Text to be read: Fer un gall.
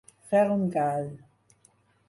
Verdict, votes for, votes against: accepted, 4, 0